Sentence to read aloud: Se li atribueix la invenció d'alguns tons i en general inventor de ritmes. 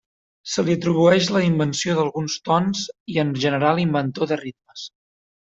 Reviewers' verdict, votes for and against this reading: accepted, 3, 0